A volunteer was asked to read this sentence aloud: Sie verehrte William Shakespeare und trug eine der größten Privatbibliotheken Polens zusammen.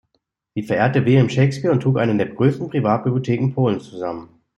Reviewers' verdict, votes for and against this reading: rejected, 1, 2